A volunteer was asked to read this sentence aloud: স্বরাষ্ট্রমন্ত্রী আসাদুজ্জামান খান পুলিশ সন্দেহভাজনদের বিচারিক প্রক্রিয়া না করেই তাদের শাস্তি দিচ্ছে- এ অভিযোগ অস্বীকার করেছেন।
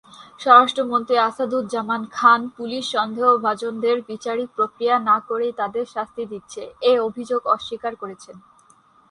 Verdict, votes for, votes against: accepted, 8, 0